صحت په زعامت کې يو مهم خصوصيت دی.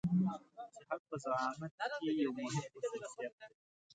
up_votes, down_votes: 0, 2